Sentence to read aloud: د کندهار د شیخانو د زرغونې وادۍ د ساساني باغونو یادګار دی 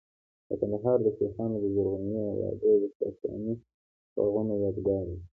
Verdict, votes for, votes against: rejected, 2, 3